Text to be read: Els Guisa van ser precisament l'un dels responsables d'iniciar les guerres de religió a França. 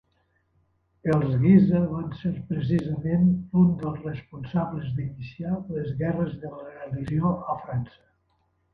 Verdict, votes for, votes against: rejected, 1, 2